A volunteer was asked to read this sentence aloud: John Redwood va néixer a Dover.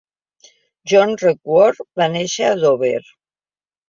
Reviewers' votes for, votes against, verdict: 3, 0, accepted